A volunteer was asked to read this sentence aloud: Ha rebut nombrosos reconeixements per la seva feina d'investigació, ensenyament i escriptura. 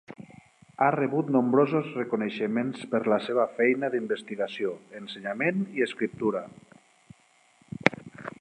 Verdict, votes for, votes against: accepted, 3, 0